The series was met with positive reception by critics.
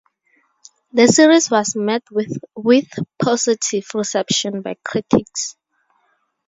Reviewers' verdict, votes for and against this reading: rejected, 0, 4